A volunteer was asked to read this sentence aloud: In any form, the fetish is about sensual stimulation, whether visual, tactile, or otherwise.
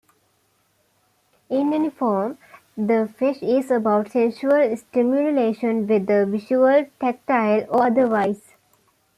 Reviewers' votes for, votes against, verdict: 1, 2, rejected